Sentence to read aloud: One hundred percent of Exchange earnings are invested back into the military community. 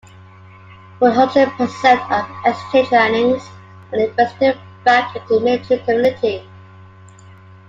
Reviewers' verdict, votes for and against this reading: rejected, 1, 2